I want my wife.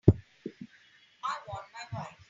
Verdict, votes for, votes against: accepted, 3, 0